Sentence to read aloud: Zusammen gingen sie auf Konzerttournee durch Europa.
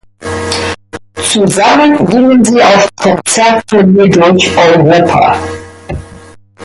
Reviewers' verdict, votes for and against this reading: rejected, 0, 2